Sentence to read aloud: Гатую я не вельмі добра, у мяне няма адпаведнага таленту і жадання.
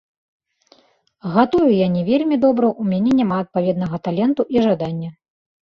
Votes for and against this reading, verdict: 1, 2, rejected